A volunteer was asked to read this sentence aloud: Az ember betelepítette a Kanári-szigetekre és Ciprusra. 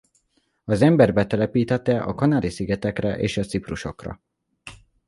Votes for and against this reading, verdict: 1, 2, rejected